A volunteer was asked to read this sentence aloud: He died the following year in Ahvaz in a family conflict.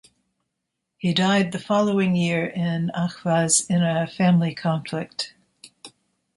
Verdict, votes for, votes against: accepted, 2, 0